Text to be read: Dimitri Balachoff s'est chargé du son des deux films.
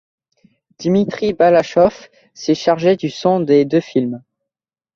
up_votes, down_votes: 2, 0